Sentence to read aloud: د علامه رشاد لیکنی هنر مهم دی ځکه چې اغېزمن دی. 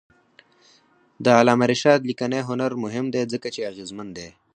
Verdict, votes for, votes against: rejected, 2, 4